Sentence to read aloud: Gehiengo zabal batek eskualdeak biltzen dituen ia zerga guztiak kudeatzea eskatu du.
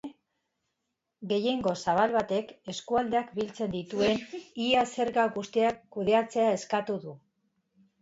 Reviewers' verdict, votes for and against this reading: accepted, 2, 0